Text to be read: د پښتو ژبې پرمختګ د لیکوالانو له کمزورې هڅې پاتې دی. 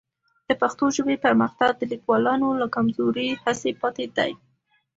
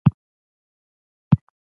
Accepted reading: first